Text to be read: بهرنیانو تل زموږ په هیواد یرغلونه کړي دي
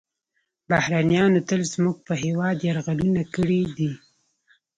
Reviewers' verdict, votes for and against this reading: accepted, 2, 0